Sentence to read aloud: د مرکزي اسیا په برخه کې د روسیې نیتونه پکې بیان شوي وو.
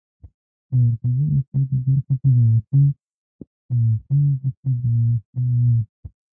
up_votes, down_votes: 1, 2